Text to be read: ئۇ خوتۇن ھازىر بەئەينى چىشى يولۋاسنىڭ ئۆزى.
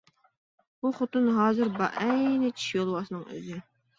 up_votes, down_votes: 2, 0